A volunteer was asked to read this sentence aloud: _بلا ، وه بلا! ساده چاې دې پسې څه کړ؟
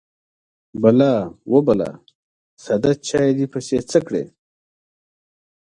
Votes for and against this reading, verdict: 2, 0, accepted